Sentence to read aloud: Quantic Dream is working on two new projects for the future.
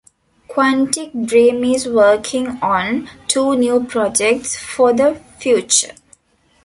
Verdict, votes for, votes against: accepted, 2, 1